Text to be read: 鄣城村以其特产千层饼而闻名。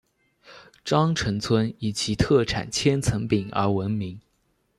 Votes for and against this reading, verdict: 2, 0, accepted